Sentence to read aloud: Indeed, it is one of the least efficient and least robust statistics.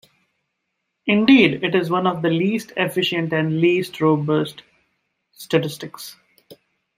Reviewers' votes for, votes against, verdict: 2, 1, accepted